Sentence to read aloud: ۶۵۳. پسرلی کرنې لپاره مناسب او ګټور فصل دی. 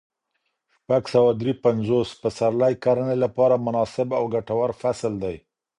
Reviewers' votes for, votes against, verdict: 0, 2, rejected